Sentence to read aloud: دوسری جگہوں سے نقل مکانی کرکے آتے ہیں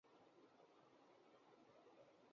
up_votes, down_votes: 3, 6